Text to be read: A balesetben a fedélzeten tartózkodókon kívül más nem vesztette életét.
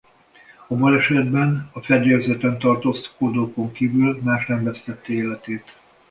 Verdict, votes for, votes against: rejected, 1, 2